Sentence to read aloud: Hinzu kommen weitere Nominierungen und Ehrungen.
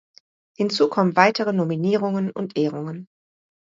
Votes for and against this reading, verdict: 2, 0, accepted